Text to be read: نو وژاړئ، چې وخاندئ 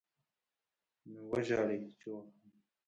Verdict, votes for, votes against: rejected, 0, 2